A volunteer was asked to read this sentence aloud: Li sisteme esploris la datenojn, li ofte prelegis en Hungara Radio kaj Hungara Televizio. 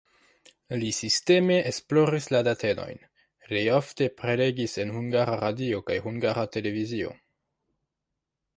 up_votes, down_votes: 2, 0